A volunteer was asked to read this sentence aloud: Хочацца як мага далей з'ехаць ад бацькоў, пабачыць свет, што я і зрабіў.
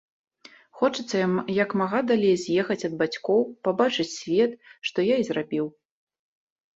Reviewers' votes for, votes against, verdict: 0, 2, rejected